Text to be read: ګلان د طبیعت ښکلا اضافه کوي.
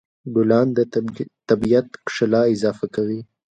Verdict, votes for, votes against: accepted, 2, 0